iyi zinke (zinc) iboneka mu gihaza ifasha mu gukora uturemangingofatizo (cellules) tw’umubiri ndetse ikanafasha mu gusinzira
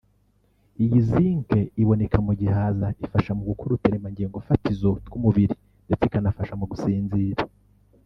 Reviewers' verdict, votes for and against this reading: rejected, 0, 3